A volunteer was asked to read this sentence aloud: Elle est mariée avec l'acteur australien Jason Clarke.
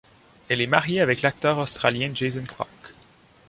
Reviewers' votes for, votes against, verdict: 2, 0, accepted